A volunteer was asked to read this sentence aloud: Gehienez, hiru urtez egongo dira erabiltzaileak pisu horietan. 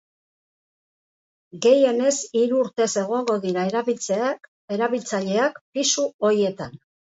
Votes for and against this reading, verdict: 0, 2, rejected